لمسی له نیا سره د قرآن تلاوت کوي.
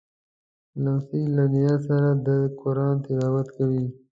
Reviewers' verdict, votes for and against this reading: accepted, 2, 0